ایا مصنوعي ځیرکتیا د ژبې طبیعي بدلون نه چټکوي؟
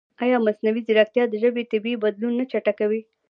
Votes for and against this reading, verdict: 2, 0, accepted